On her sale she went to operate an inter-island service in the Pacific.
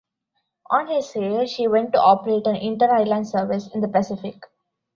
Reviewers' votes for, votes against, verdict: 2, 0, accepted